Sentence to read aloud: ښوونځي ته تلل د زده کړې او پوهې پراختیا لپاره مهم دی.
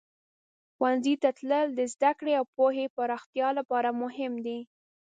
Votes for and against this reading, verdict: 2, 0, accepted